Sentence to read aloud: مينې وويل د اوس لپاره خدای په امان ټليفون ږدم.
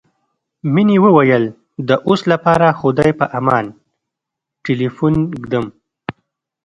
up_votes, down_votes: 2, 0